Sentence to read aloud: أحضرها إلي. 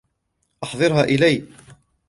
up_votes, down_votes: 2, 0